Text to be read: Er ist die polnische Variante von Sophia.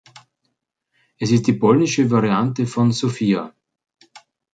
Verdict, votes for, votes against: rejected, 1, 2